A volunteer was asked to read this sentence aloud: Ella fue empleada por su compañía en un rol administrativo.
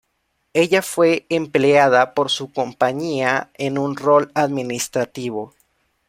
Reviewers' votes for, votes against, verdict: 2, 0, accepted